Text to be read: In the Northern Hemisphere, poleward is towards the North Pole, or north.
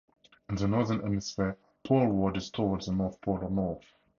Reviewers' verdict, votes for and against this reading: accepted, 4, 0